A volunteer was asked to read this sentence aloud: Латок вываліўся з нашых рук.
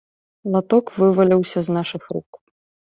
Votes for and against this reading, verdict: 2, 0, accepted